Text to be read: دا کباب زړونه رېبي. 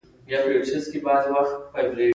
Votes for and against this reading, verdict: 0, 3, rejected